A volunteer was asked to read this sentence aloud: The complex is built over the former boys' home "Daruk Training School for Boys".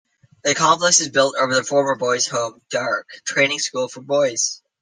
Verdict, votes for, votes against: accepted, 2, 1